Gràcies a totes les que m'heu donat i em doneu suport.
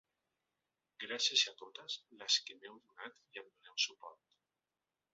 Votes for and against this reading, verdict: 1, 2, rejected